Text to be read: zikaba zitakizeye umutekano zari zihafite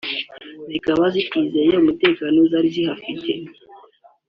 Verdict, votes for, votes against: accepted, 2, 1